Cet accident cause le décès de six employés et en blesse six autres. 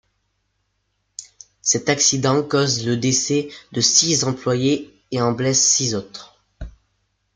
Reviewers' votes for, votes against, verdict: 2, 0, accepted